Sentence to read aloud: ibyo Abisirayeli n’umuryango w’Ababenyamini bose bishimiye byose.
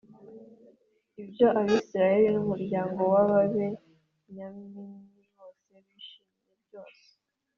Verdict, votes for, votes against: accepted, 2, 0